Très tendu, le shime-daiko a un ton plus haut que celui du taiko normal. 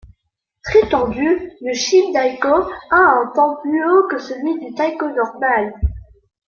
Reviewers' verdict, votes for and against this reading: accepted, 2, 1